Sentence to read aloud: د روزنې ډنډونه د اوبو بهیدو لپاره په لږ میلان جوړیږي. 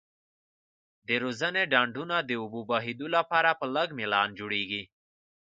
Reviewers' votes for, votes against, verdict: 2, 0, accepted